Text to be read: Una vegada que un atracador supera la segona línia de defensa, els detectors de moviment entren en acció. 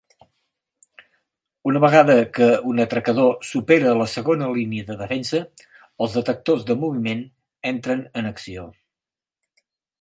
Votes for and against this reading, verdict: 12, 0, accepted